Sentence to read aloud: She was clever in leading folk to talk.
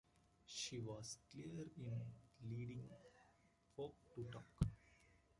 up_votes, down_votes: 1, 2